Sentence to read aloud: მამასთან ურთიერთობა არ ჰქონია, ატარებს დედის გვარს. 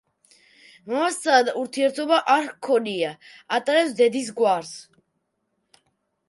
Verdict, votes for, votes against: rejected, 1, 2